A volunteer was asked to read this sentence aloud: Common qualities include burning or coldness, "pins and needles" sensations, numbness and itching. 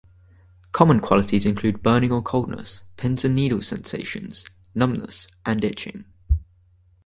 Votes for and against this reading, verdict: 4, 0, accepted